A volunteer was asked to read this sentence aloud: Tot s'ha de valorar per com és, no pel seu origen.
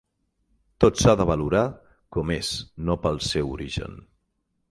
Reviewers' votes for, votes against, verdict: 0, 6, rejected